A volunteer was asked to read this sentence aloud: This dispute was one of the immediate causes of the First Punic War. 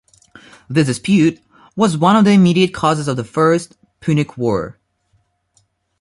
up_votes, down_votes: 2, 1